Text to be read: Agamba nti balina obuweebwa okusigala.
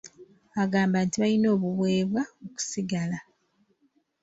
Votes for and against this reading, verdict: 1, 2, rejected